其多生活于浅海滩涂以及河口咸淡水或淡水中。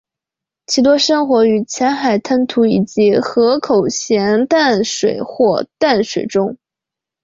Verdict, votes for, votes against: accepted, 4, 0